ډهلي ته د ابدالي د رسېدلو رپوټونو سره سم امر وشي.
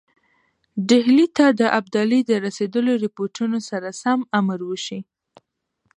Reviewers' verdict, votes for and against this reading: accepted, 2, 1